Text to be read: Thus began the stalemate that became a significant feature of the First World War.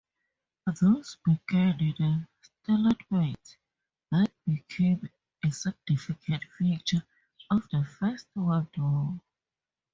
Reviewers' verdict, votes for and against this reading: accepted, 2, 0